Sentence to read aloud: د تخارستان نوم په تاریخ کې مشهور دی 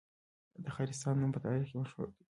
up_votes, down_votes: 1, 2